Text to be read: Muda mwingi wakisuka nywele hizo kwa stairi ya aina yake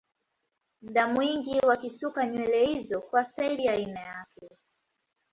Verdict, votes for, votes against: accepted, 2, 1